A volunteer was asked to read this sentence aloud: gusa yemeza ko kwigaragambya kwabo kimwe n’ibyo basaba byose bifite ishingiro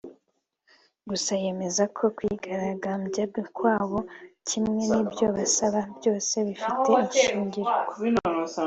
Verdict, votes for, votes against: accepted, 2, 0